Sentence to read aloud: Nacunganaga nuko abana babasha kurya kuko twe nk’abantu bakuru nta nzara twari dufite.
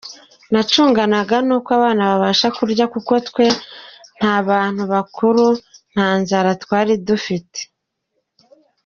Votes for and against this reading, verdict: 1, 2, rejected